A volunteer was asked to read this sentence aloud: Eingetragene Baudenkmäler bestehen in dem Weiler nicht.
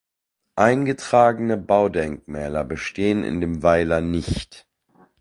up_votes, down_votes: 2, 0